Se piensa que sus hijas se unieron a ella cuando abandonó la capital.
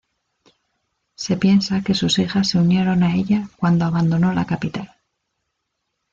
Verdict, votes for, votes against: accepted, 2, 0